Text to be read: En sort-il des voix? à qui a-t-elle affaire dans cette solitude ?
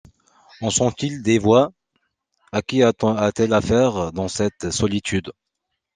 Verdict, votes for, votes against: rejected, 0, 2